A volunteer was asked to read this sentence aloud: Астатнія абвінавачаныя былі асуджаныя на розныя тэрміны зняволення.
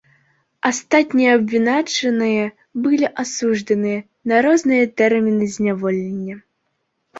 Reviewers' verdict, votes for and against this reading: rejected, 0, 2